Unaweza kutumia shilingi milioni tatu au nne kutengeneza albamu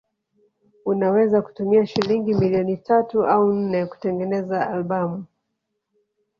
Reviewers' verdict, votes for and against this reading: rejected, 1, 2